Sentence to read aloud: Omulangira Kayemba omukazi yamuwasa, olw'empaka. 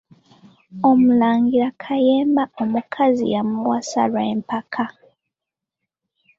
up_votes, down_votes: 2, 1